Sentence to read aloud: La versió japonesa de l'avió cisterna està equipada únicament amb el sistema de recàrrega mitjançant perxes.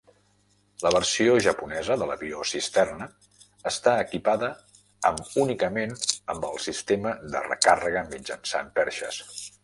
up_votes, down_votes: 0, 2